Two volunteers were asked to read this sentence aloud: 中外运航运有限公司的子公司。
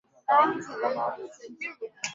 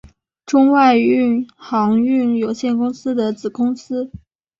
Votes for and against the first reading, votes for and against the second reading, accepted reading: 0, 2, 3, 0, second